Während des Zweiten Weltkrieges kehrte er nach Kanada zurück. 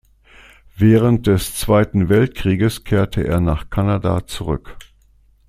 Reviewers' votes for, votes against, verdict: 2, 0, accepted